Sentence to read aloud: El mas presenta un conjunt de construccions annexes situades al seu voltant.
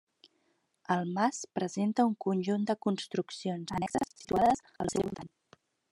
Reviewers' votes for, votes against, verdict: 1, 2, rejected